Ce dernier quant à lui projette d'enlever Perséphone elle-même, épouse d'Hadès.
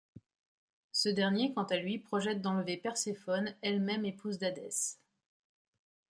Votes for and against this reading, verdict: 2, 0, accepted